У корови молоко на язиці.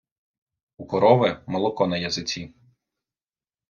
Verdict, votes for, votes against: accepted, 2, 0